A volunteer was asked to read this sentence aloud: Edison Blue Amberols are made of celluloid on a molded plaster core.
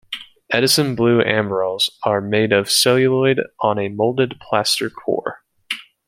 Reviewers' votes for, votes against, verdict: 2, 1, accepted